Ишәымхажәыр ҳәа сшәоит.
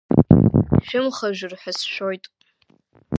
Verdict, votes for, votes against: rejected, 1, 2